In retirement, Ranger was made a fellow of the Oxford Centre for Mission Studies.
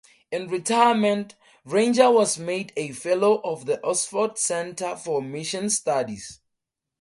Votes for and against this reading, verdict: 2, 0, accepted